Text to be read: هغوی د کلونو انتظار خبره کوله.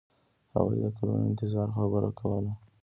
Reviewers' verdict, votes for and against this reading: rejected, 1, 2